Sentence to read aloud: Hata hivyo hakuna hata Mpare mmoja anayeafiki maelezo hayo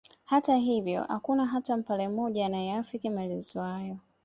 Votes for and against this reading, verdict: 2, 0, accepted